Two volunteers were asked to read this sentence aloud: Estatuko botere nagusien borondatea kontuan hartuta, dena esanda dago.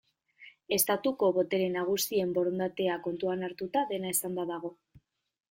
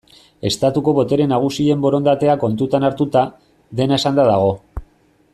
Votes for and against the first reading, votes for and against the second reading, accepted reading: 2, 0, 1, 2, first